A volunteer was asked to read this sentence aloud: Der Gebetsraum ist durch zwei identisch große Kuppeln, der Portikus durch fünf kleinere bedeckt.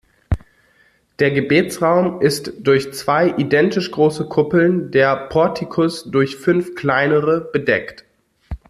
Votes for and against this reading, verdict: 2, 0, accepted